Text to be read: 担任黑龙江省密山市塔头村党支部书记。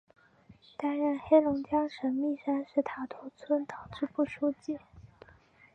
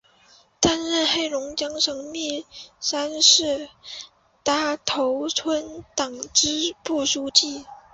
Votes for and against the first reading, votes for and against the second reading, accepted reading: 2, 0, 4, 5, first